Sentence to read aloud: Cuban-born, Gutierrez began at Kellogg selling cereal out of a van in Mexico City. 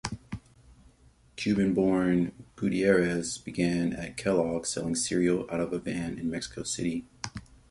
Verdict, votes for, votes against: accepted, 2, 1